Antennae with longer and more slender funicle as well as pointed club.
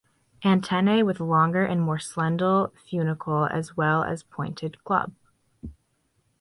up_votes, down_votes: 1, 2